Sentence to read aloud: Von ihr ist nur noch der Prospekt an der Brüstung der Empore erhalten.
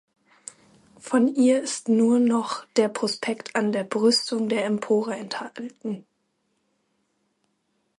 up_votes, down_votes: 0, 2